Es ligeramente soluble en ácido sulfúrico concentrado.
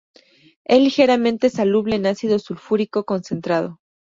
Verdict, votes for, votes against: rejected, 0, 2